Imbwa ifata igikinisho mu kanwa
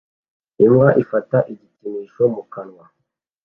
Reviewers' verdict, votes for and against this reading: accepted, 2, 0